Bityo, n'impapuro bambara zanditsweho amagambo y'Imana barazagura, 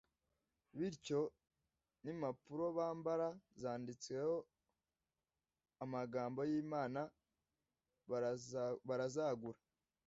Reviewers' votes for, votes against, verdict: 0, 2, rejected